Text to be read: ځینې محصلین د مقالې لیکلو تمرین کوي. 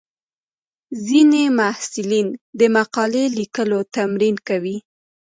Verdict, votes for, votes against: rejected, 0, 2